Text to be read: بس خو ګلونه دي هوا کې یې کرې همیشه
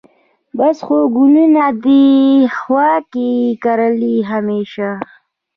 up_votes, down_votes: 3, 1